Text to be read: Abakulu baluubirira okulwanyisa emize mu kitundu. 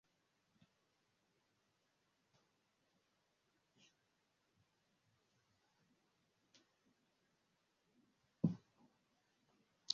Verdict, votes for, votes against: rejected, 0, 2